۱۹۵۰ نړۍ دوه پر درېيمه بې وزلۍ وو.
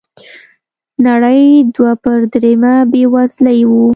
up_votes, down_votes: 0, 2